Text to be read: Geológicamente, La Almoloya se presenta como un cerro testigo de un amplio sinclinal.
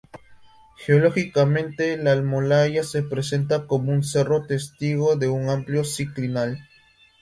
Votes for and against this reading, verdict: 0, 2, rejected